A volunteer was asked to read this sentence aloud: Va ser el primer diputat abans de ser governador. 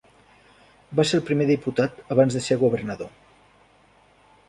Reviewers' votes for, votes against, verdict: 3, 0, accepted